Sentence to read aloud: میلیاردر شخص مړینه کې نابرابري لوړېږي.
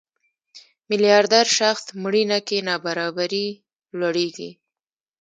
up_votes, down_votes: 1, 2